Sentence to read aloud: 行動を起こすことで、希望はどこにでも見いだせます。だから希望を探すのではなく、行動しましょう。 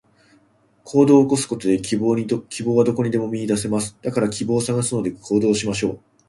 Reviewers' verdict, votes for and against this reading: rejected, 1, 2